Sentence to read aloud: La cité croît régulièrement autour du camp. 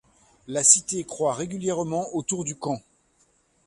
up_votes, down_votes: 2, 0